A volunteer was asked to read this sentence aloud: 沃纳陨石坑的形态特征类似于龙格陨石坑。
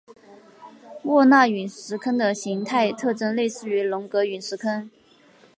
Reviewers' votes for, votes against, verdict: 3, 0, accepted